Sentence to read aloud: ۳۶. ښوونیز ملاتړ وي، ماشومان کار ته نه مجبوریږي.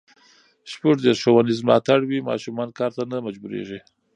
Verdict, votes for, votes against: rejected, 0, 2